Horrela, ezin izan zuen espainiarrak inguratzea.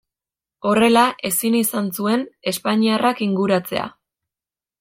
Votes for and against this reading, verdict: 2, 0, accepted